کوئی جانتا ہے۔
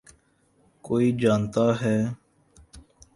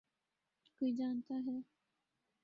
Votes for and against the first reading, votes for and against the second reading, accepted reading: 15, 0, 2, 2, first